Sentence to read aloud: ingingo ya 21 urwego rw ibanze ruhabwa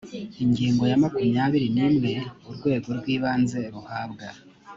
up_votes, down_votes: 0, 2